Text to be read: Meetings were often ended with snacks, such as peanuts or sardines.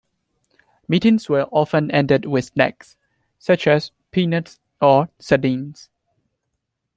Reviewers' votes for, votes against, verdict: 2, 0, accepted